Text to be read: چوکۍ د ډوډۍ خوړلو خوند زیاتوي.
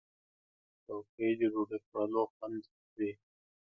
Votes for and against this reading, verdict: 1, 2, rejected